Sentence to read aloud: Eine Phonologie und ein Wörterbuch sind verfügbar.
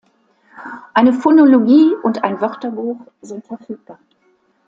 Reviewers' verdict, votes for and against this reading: accepted, 2, 0